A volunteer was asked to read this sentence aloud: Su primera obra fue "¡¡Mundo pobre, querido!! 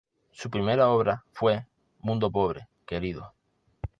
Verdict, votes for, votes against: rejected, 1, 2